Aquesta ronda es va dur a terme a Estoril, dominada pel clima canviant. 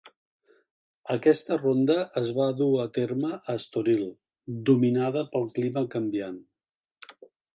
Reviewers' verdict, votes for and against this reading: accepted, 2, 0